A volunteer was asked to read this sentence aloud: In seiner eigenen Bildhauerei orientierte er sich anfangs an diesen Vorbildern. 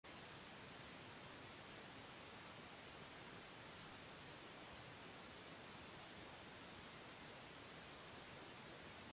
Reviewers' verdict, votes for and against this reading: rejected, 0, 2